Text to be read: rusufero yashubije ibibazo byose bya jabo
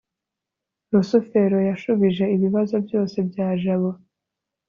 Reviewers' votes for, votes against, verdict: 2, 0, accepted